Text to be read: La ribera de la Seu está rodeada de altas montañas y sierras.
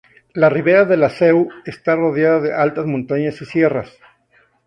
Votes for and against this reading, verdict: 2, 0, accepted